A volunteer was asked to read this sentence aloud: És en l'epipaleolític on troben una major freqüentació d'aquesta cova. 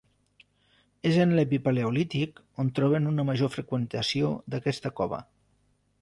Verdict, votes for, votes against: accepted, 2, 0